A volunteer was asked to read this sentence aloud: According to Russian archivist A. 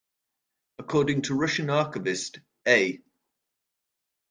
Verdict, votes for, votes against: rejected, 0, 2